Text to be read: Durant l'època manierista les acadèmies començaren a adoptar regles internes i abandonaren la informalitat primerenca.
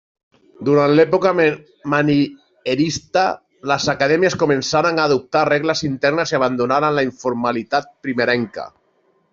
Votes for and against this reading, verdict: 0, 2, rejected